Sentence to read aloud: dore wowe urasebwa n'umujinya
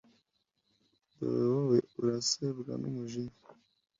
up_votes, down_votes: 2, 0